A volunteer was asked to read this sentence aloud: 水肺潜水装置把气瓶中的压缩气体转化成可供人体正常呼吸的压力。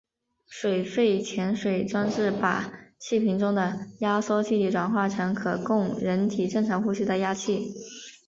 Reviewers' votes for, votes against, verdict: 2, 3, rejected